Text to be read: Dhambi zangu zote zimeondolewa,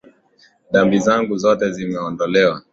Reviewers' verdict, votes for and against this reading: accepted, 3, 0